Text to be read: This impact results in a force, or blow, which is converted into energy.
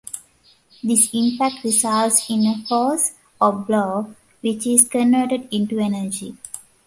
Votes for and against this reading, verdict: 2, 1, accepted